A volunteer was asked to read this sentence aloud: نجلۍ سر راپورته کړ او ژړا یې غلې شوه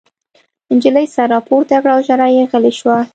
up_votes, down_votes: 2, 1